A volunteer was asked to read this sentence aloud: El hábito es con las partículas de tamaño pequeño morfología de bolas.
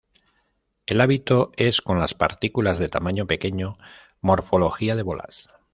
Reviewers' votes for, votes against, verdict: 2, 0, accepted